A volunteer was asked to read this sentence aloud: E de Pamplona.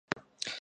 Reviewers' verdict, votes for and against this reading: rejected, 0, 2